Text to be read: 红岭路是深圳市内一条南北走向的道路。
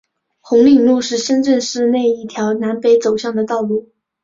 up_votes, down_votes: 3, 0